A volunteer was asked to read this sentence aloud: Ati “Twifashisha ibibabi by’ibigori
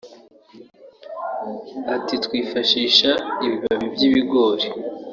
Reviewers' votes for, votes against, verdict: 1, 2, rejected